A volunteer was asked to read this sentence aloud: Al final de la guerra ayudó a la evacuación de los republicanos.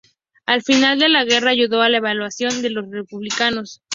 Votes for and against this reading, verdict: 0, 2, rejected